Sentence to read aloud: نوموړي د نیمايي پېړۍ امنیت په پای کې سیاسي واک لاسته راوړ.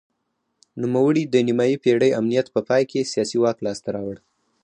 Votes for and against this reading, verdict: 4, 0, accepted